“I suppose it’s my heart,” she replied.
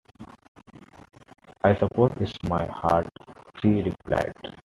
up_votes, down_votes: 2, 1